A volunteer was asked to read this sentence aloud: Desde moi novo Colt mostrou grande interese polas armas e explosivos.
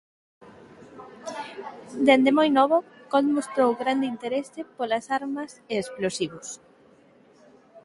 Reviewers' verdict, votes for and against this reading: rejected, 3, 6